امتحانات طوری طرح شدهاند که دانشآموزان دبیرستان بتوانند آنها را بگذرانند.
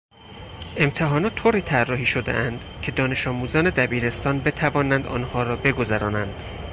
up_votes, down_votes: 4, 6